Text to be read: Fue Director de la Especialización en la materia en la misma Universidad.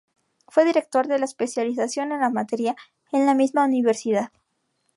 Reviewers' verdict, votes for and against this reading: rejected, 0, 2